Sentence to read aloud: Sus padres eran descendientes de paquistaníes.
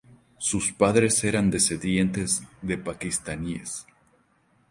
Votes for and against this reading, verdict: 4, 0, accepted